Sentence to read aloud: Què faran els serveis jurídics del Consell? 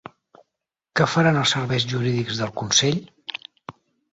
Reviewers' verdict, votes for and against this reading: accepted, 6, 0